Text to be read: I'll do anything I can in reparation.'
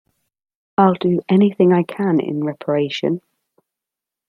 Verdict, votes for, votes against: accepted, 2, 0